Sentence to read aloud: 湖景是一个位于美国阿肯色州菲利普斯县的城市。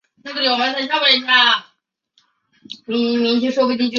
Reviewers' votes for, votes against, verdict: 1, 2, rejected